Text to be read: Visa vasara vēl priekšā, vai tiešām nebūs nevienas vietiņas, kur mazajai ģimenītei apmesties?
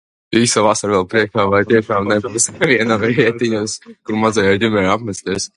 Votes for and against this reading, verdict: 0, 2, rejected